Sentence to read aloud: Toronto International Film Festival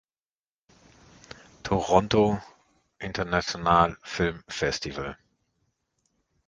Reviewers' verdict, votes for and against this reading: rejected, 0, 4